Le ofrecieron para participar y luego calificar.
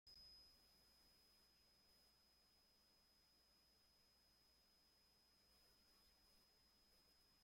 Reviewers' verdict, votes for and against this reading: rejected, 0, 2